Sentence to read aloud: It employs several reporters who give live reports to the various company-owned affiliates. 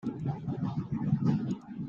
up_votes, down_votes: 0, 2